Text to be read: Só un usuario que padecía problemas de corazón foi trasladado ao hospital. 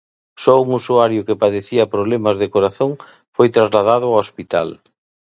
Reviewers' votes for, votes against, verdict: 2, 0, accepted